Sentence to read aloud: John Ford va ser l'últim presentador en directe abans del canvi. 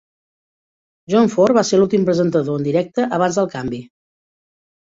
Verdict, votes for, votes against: accepted, 2, 0